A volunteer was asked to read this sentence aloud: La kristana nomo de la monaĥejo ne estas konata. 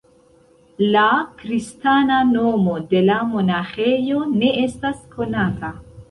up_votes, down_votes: 0, 2